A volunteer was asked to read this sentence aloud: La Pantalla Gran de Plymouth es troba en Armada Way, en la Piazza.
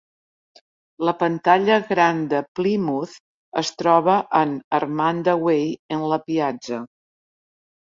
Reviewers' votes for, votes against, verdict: 1, 2, rejected